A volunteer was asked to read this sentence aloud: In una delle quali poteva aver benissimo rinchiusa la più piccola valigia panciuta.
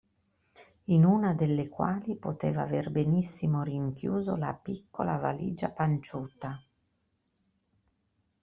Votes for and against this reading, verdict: 1, 2, rejected